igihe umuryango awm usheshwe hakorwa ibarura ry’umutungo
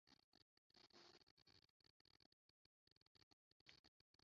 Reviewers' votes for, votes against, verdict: 0, 2, rejected